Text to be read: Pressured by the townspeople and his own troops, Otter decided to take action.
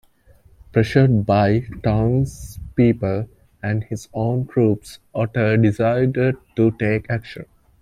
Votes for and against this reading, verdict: 2, 0, accepted